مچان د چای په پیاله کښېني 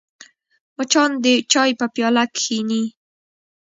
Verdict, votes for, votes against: rejected, 1, 2